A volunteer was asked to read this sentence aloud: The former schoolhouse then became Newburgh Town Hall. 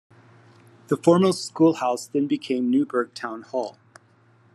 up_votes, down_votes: 2, 0